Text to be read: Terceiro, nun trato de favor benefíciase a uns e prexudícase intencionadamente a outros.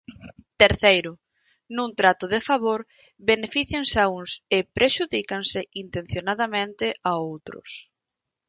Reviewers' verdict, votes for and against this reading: rejected, 0, 4